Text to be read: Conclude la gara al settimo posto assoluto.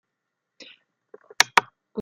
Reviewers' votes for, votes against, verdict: 0, 2, rejected